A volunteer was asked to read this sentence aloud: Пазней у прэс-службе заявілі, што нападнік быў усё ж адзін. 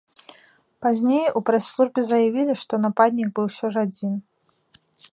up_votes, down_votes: 2, 0